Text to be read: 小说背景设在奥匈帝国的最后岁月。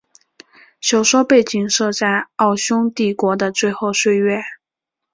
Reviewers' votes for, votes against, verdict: 2, 0, accepted